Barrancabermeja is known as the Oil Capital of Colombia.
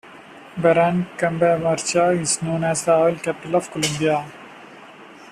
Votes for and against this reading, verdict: 2, 3, rejected